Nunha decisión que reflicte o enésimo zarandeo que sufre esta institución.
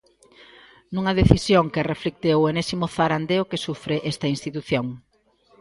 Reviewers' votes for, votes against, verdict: 1, 2, rejected